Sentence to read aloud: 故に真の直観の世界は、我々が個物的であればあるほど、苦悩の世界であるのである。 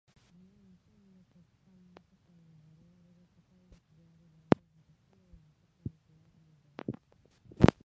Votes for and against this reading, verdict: 1, 2, rejected